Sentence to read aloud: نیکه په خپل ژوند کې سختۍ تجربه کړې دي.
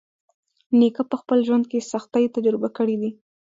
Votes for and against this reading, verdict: 2, 1, accepted